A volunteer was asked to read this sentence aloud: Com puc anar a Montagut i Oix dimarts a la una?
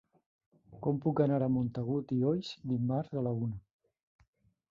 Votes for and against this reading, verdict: 1, 2, rejected